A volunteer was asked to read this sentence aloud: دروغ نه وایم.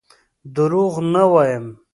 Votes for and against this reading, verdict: 2, 0, accepted